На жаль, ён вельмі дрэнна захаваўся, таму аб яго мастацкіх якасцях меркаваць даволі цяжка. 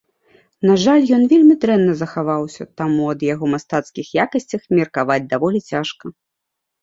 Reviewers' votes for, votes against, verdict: 0, 2, rejected